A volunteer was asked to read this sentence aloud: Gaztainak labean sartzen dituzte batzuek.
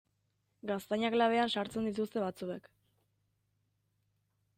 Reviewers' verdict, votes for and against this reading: accepted, 2, 0